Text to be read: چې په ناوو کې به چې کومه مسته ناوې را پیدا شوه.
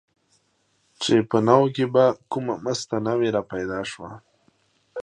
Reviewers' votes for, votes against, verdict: 2, 0, accepted